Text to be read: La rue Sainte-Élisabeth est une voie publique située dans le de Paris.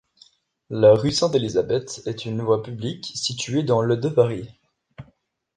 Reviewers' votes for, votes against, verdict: 2, 0, accepted